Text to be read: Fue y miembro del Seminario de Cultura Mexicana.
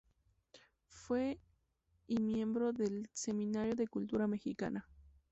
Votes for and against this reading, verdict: 2, 0, accepted